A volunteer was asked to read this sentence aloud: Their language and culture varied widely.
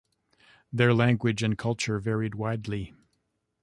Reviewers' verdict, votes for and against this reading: accepted, 2, 0